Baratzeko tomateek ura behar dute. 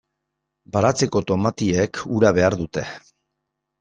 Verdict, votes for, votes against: rejected, 1, 2